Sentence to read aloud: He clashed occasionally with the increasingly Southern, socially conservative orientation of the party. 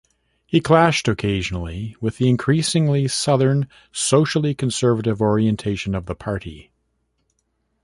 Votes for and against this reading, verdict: 0, 2, rejected